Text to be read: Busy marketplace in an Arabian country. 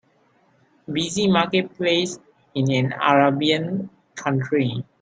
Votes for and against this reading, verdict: 0, 2, rejected